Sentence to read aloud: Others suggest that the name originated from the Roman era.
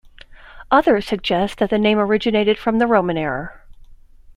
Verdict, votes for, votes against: accepted, 2, 0